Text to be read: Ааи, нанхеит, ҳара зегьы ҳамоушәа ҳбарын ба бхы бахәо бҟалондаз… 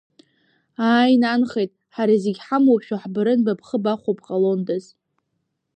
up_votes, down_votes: 2, 0